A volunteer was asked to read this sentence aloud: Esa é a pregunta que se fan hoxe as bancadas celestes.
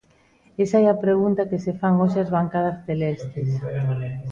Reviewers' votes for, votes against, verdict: 1, 2, rejected